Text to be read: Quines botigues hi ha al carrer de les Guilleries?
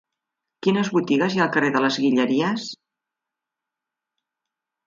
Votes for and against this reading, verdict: 1, 2, rejected